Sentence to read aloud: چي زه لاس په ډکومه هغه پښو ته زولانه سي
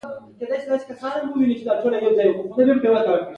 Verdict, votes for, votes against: accepted, 2, 1